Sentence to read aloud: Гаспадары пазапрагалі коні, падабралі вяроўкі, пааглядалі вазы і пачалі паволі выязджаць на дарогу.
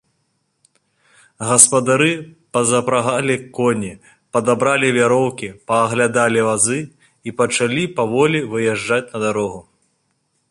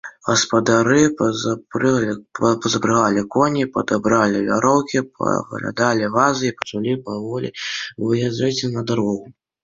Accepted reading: first